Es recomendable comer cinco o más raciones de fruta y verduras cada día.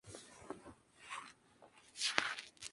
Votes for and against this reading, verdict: 0, 2, rejected